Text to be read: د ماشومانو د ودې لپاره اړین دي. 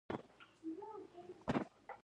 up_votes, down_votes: 0, 2